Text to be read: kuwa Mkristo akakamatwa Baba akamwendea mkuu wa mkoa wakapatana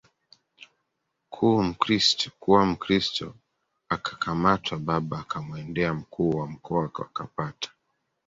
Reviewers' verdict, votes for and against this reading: rejected, 0, 2